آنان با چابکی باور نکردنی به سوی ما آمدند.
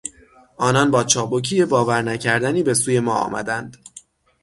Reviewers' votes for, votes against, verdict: 6, 0, accepted